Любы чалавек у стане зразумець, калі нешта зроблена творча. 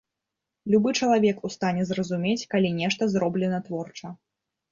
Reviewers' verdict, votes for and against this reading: accepted, 2, 0